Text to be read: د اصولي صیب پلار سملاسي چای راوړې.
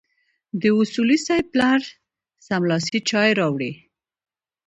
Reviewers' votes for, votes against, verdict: 2, 1, accepted